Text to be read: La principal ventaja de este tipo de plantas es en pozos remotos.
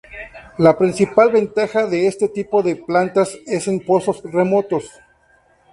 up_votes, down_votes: 0, 2